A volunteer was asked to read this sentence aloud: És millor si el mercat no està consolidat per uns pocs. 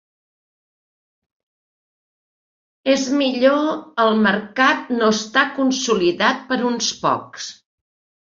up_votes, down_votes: 0, 2